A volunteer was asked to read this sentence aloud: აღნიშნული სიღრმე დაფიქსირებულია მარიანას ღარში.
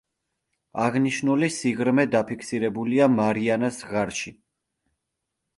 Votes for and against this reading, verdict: 3, 0, accepted